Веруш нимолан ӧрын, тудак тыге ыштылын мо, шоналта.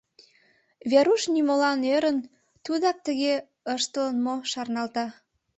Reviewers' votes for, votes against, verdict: 1, 5, rejected